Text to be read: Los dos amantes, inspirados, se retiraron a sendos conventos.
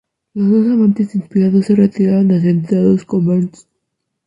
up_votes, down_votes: 0, 2